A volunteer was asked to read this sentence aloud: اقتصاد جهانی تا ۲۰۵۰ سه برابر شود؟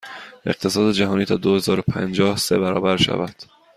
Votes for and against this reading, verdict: 0, 2, rejected